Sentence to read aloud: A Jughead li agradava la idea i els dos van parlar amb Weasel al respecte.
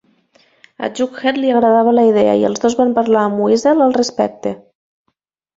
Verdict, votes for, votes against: accepted, 2, 0